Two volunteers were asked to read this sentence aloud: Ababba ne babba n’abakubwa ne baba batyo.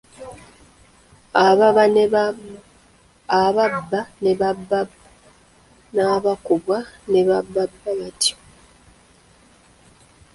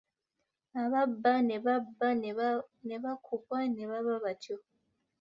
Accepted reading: second